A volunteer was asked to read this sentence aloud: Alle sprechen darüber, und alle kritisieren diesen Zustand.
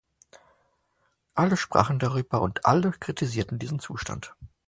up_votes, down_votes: 0, 2